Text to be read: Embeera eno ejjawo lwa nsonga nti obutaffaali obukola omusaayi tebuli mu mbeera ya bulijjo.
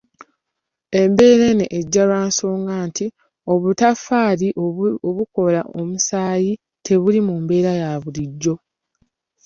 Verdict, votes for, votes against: accepted, 2, 0